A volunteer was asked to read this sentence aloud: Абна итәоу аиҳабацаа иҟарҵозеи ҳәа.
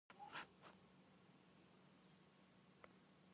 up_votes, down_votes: 0, 2